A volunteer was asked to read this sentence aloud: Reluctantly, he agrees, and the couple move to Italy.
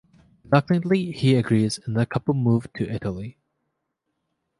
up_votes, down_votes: 2, 1